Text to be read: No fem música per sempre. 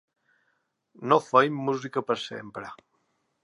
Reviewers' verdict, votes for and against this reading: accepted, 2, 1